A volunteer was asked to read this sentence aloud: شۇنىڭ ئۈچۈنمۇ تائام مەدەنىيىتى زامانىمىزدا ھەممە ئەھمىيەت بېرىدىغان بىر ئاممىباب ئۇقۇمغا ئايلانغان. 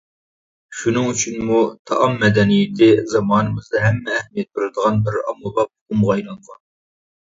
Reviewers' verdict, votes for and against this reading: rejected, 1, 2